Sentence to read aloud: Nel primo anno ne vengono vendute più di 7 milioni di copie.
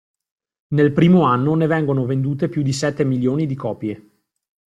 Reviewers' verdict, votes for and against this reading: rejected, 0, 2